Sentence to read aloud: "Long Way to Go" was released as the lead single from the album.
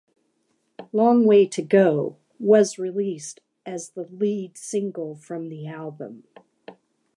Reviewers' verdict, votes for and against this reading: accepted, 2, 0